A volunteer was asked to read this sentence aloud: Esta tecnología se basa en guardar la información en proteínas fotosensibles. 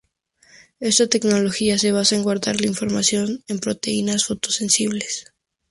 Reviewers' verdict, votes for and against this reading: rejected, 2, 2